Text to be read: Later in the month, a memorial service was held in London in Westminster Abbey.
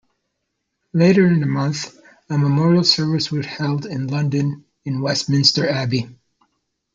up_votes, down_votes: 2, 0